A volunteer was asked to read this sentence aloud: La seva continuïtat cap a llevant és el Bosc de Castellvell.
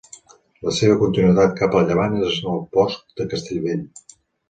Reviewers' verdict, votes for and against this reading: accepted, 2, 0